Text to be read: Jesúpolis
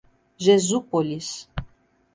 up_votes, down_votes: 2, 0